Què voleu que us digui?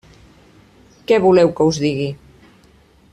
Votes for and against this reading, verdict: 3, 0, accepted